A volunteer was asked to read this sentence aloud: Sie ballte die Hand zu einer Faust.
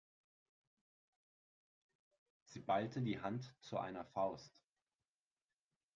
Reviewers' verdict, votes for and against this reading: accepted, 8, 0